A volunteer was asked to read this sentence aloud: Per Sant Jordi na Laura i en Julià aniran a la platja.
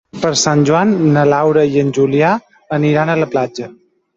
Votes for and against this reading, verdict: 0, 2, rejected